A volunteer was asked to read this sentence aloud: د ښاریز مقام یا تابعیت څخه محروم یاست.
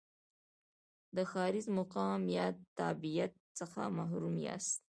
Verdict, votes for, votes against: accepted, 2, 0